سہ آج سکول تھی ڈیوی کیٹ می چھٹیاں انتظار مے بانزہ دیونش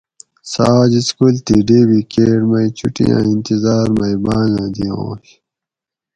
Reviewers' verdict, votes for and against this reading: accepted, 4, 0